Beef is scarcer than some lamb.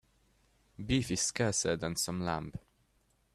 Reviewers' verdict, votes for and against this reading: accepted, 2, 0